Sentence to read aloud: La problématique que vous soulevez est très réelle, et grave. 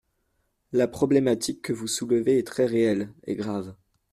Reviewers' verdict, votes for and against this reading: accepted, 2, 0